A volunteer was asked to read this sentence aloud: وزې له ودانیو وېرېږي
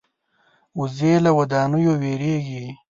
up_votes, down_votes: 2, 0